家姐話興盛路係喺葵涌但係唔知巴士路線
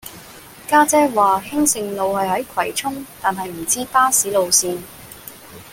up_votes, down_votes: 2, 1